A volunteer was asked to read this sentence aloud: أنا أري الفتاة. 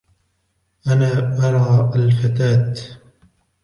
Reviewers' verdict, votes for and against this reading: rejected, 1, 2